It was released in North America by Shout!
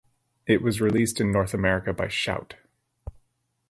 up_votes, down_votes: 2, 2